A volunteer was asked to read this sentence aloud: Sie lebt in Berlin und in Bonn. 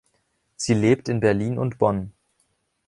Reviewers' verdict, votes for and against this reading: rejected, 0, 2